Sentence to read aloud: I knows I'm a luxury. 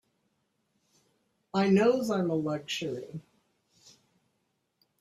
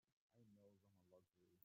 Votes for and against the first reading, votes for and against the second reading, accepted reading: 2, 0, 0, 2, first